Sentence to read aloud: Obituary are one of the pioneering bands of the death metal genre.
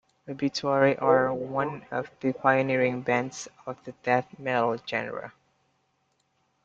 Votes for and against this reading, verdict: 2, 0, accepted